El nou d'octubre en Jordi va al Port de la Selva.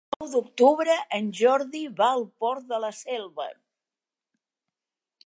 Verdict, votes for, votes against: rejected, 1, 2